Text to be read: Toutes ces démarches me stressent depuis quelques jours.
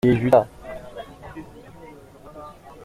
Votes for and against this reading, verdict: 0, 2, rejected